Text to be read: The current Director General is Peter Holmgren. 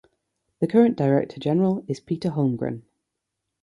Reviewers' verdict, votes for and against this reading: accepted, 3, 0